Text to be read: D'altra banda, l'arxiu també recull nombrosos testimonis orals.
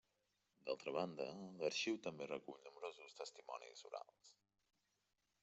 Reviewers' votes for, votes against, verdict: 1, 2, rejected